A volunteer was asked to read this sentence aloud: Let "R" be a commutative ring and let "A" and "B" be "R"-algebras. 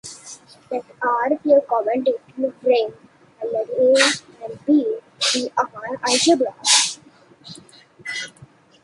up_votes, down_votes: 0, 2